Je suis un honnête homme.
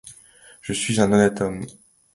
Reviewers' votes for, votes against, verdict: 2, 0, accepted